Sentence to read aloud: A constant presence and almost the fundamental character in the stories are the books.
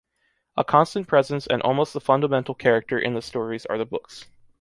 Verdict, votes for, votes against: accepted, 3, 0